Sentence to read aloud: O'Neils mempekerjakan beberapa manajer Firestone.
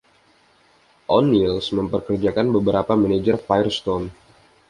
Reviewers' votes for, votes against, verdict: 2, 0, accepted